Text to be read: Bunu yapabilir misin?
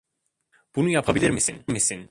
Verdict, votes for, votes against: rejected, 1, 2